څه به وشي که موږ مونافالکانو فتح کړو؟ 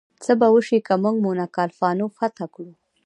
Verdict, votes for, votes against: accepted, 2, 0